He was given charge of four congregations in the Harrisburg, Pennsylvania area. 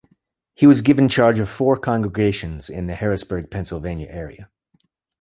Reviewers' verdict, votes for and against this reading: accepted, 2, 0